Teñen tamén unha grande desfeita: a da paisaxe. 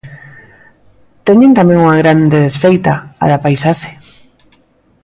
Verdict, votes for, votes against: accepted, 2, 1